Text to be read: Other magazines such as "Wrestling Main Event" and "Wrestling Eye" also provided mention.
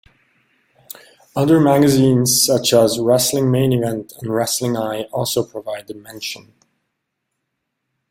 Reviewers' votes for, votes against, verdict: 1, 2, rejected